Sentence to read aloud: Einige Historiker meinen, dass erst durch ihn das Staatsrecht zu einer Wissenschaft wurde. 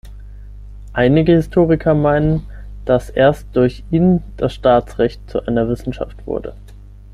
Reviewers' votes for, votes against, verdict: 6, 3, accepted